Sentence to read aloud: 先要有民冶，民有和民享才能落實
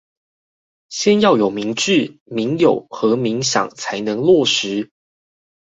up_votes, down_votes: 4, 0